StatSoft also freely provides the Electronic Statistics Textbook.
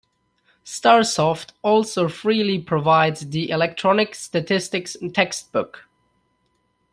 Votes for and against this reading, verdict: 1, 2, rejected